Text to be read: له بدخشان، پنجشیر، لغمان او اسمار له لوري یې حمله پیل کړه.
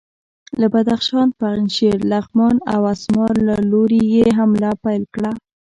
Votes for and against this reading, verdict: 2, 0, accepted